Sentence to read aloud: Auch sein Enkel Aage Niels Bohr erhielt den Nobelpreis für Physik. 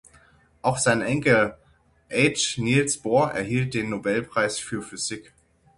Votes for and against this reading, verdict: 0, 6, rejected